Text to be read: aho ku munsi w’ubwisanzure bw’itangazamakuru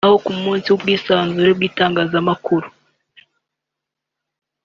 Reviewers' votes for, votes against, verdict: 1, 2, rejected